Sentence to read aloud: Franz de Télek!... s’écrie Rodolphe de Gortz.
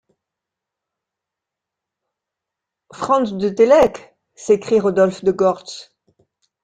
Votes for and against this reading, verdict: 2, 0, accepted